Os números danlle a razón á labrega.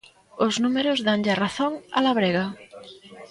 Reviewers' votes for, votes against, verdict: 2, 0, accepted